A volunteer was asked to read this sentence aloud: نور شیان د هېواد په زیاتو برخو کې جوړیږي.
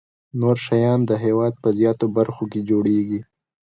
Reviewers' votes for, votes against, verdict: 2, 0, accepted